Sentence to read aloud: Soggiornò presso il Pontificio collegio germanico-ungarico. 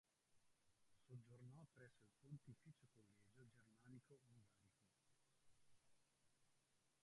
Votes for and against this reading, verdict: 1, 3, rejected